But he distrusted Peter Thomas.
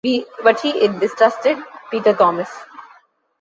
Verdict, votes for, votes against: rejected, 1, 2